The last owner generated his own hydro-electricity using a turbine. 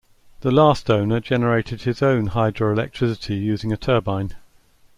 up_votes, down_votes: 2, 0